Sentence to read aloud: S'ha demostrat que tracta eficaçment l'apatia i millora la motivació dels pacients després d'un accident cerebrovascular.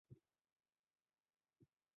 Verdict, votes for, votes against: rejected, 0, 2